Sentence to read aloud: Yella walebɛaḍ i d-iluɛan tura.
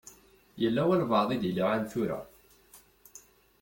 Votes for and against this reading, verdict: 2, 0, accepted